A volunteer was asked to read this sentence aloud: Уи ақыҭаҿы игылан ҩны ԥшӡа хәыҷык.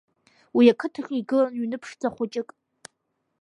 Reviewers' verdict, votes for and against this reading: accepted, 2, 1